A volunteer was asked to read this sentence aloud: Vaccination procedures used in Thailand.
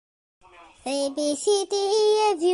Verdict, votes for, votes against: rejected, 1, 2